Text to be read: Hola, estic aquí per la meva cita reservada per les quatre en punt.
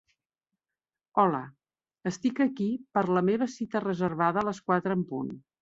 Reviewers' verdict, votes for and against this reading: rejected, 1, 2